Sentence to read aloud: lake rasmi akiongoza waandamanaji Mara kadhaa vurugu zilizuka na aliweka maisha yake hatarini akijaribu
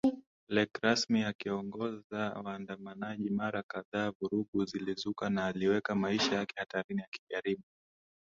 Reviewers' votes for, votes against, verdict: 2, 0, accepted